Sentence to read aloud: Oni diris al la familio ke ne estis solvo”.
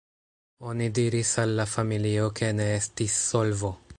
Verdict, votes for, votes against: accepted, 2, 0